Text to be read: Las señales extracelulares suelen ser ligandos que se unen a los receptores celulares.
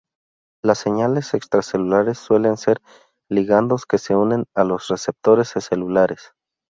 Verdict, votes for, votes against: rejected, 0, 2